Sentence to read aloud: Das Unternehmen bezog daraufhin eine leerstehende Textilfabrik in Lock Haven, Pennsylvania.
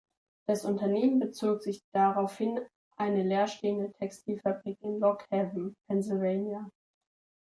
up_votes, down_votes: 1, 2